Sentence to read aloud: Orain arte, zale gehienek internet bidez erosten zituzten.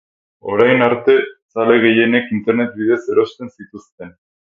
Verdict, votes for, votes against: accepted, 4, 0